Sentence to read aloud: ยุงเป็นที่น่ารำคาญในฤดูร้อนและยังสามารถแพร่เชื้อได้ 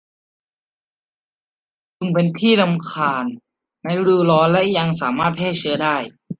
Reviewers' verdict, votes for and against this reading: rejected, 0, 2